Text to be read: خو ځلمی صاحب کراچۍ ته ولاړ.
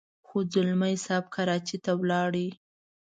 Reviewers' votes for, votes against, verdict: 2, 0, accepted